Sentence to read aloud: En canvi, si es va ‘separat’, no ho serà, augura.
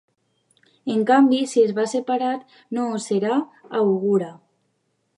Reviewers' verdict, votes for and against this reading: accepted, 2, 1